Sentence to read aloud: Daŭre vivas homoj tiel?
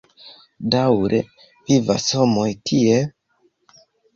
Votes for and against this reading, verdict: 2, 1, accepted